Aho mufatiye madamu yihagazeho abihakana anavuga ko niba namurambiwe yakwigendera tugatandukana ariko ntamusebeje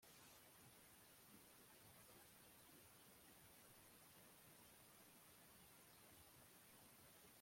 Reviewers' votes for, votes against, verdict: 0, 2, rejected